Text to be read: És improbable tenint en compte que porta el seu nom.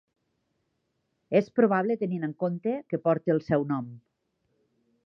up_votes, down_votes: 1, 2